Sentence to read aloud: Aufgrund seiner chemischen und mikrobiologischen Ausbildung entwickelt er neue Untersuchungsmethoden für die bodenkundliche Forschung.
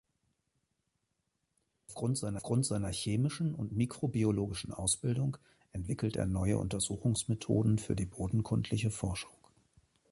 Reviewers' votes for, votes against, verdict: 0, 2, rejected